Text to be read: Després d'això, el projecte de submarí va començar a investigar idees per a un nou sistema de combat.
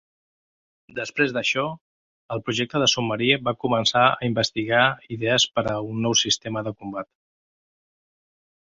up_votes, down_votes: 3, 0